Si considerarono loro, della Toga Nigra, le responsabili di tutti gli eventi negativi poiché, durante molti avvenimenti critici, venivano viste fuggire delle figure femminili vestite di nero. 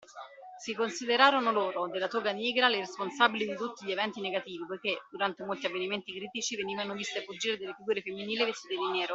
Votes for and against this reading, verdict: 2, 1, accepted